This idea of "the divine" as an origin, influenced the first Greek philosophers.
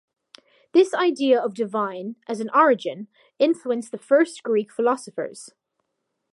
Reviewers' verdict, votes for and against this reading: rejected, 0, 2